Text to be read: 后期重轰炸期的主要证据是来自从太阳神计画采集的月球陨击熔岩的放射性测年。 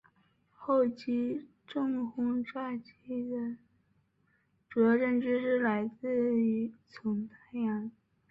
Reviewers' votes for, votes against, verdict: 4, 1, accepted